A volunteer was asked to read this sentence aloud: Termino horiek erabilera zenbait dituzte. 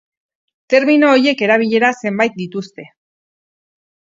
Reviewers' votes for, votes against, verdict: 2, 2, rejected